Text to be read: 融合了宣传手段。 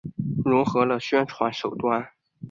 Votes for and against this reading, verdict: 5, 0, accepted